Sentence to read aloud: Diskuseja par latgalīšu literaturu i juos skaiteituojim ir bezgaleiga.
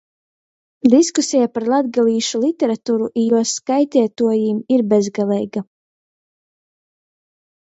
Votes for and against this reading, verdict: 2, 0, accepted